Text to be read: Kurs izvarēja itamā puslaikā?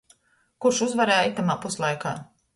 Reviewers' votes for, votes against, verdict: 1, 2, rejected